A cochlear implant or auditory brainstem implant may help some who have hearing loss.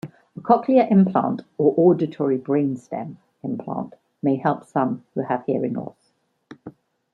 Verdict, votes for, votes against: accepted, 2, 0